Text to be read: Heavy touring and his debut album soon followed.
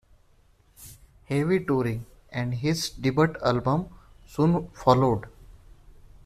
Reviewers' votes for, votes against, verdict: 0, 2, rejected